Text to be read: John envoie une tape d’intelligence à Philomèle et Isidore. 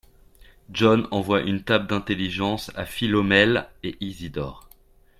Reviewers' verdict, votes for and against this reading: accepted, 2, 0